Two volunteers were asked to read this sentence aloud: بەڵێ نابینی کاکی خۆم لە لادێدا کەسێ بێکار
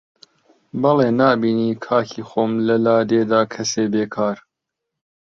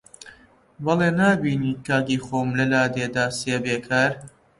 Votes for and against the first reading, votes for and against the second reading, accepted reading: 2, 0, 0, 2, first